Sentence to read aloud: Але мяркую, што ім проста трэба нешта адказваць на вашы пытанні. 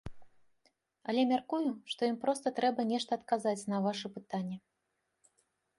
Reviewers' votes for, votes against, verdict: 0, 2, rejected